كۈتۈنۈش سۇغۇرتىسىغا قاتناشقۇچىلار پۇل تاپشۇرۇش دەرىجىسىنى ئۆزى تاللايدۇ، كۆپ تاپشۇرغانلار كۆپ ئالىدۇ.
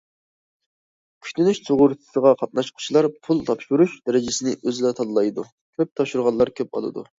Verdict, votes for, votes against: accepted, 2, 0